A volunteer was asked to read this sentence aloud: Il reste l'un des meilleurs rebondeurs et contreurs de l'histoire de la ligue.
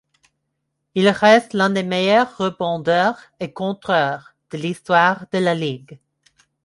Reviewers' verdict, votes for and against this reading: accepted, 2, 0